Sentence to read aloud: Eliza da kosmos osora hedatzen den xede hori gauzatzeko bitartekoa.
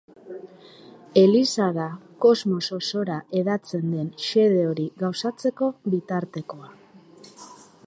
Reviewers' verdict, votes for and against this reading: accepted, 2, 0